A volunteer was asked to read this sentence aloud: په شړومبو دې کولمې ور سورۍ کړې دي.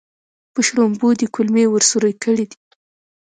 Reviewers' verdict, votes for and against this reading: accepted, 2, 1